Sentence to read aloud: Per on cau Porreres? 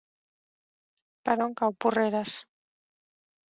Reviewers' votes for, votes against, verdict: 3, 0, accepted